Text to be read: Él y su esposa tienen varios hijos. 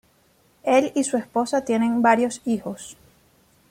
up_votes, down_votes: 3, 0